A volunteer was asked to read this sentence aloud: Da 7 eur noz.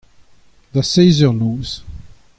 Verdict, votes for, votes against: rejected, 0, 2